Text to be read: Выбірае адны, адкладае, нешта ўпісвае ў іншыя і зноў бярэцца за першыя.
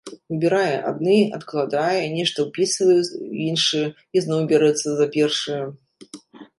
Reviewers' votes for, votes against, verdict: 0, 2, rejected